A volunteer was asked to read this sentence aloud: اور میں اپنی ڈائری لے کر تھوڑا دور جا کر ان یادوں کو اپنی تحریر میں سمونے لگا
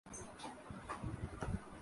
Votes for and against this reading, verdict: 0, 3, rejected